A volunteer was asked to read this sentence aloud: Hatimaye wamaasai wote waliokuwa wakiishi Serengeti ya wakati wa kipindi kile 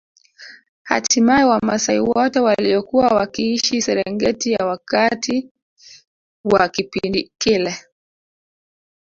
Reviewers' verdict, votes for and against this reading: rejected, 1, 2